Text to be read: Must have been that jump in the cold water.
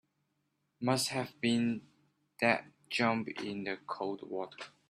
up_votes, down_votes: 2, 1